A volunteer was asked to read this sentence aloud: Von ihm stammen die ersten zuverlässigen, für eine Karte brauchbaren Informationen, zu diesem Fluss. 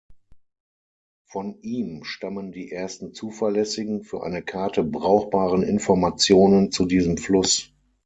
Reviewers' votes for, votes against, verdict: 6, 0, accepted